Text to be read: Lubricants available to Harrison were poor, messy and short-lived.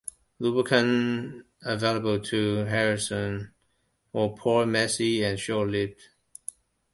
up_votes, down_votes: 0, 2